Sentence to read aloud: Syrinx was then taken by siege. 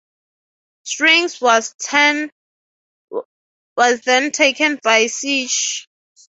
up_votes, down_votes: 0, 6